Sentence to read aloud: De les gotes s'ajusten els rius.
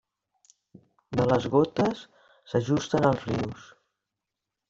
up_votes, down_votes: 3, 0